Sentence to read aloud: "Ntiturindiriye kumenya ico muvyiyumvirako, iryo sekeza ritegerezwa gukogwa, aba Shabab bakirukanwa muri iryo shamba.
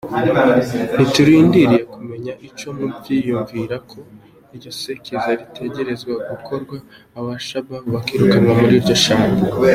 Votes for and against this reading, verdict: 0, 2, rejected